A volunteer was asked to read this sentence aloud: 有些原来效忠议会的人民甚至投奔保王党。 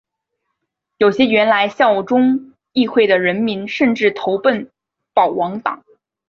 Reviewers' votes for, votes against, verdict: 2, 0, accepted